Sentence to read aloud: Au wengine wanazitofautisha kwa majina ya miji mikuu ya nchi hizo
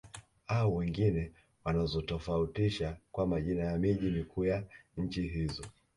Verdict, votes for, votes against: accepted, 2, 0